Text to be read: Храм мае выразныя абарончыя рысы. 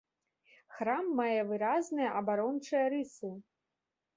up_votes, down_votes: 2, 0